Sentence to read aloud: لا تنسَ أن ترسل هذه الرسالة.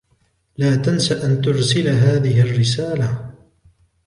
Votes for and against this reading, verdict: 2, 0, accepted